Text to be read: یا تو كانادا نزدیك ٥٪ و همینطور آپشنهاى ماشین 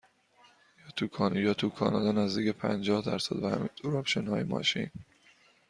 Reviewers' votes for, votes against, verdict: 0, 2, rejected